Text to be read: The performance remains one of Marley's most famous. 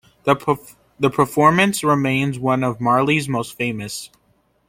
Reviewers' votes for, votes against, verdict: 0, 2, rejected